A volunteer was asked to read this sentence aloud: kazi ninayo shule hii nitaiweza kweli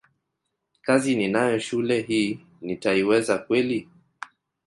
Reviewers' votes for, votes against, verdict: 2, 0, accepted